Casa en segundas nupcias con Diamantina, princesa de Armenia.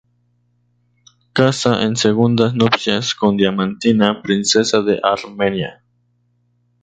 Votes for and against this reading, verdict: 2, 0, accepted